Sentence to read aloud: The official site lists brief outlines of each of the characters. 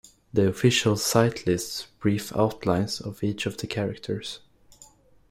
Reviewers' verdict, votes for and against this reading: accepted, 2, 0